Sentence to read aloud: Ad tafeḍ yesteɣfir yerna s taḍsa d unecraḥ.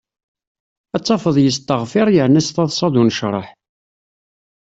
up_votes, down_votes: 2, 0